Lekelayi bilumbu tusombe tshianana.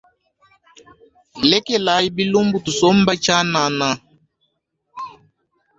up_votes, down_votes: 2, 0